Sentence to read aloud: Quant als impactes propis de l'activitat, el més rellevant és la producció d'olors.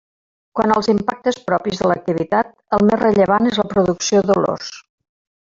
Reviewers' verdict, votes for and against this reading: rejected, 0, 2